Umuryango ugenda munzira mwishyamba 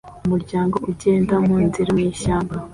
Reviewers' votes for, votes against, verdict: 2, 0, accepted